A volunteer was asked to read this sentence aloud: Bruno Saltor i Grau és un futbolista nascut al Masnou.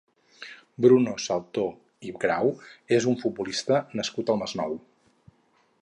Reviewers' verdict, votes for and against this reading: accepted, 4, 0